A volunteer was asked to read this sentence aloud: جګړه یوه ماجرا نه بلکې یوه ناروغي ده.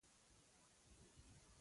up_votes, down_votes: 1, 2